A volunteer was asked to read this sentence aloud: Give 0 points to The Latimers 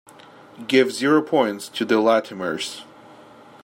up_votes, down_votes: 0, 2